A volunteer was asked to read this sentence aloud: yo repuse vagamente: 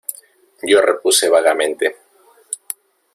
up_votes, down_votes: 1, 2